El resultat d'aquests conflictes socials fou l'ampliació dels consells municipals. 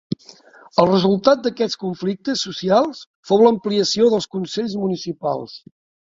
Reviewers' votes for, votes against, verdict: 3, 0, accepted